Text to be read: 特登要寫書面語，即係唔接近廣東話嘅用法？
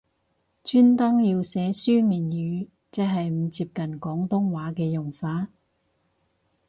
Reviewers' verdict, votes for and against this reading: rejected, 2, 4